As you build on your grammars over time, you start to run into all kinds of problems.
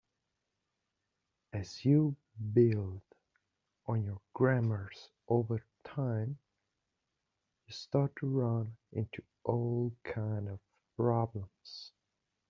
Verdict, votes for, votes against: rejected, 1, 2